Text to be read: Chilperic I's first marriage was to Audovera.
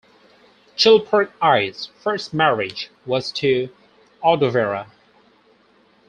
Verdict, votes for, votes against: rejected, 0, 2